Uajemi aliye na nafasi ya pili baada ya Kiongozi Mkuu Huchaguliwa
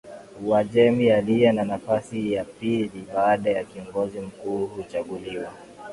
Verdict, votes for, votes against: rejected, 2, 2